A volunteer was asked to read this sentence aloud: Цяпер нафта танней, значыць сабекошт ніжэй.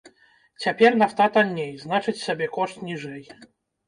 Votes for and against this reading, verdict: 1, 2, rejected